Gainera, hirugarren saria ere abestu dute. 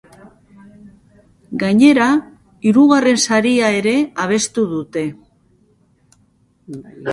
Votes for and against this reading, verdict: 1, 2, rejected